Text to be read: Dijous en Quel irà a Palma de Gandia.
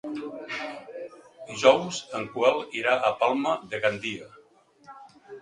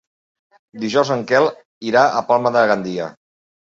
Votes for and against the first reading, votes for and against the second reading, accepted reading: 0, 2, 3, 0, second